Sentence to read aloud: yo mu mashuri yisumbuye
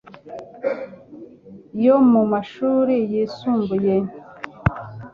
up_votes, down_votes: 2, 0